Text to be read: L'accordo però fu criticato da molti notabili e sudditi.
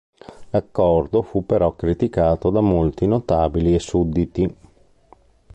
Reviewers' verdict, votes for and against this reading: rejected, 0, 2